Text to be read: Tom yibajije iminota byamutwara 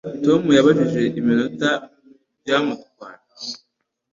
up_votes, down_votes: 1, 2